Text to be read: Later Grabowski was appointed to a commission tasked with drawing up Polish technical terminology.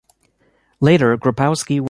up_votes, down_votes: 0, 2